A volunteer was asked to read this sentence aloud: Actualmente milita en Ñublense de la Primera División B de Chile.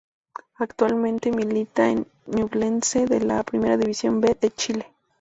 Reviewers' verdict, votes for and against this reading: rejected, 0, 2